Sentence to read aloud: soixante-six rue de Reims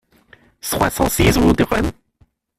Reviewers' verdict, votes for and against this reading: rejected, 0, 2